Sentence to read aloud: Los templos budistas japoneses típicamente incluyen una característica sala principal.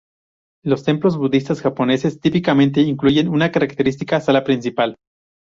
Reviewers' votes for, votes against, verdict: 2, 2, rejected